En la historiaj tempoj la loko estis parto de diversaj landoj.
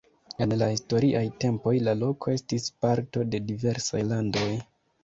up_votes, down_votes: 1, 2